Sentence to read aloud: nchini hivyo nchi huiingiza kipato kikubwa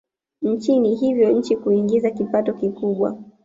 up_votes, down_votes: 2, 0